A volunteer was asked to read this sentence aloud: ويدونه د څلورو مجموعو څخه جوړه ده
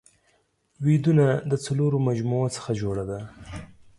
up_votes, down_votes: 4, 0